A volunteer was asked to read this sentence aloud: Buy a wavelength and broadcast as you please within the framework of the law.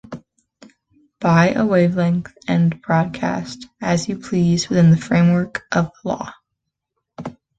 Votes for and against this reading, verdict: 1, 2, rejected